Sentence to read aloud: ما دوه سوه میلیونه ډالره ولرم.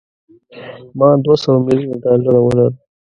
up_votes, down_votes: 0, 2